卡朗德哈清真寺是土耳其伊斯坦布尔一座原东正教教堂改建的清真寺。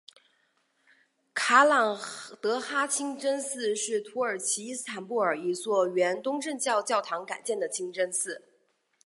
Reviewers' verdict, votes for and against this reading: accepted, 2, 0